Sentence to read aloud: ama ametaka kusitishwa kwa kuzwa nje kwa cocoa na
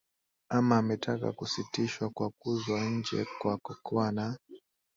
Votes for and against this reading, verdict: 2, 0, accepted